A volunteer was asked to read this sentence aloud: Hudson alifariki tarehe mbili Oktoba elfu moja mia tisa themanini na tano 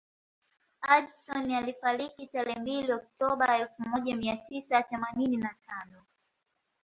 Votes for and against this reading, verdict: 2, 1, accepted